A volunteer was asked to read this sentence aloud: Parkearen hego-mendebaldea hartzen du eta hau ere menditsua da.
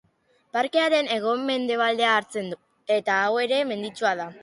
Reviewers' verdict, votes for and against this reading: accepted, 2, 0